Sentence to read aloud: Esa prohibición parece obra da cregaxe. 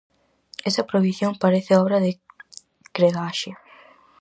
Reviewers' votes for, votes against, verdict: 0, 4, rejected